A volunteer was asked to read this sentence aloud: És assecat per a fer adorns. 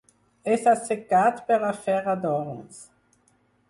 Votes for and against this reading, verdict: 4, 2, accepted